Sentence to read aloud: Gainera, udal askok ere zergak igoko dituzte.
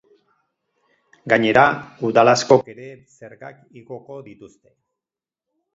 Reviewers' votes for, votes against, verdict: 10, 2, accepted